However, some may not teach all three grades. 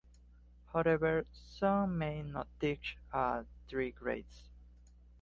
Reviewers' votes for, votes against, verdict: 3, 0, accepted